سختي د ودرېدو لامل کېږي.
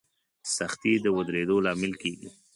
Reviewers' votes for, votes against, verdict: 2, 0, accepted